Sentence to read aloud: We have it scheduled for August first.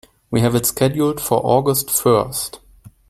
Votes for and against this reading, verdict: 2, 0, accepted